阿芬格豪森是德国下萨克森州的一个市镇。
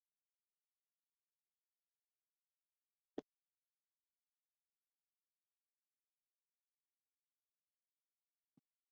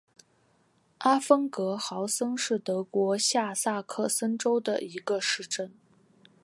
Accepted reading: second